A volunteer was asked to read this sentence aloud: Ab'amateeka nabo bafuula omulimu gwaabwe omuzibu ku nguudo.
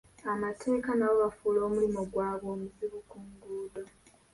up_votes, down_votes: 1, 2